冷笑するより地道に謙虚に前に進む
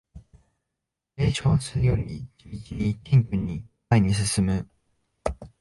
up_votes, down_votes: 3, 2